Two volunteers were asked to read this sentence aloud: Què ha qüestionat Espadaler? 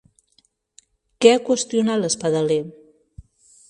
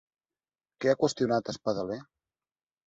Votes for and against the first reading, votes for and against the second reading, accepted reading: 1, 2, 3, 0, second